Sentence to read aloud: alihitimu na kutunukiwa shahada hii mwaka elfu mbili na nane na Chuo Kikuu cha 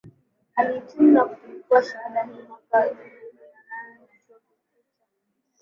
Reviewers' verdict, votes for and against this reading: rejected, 1, 5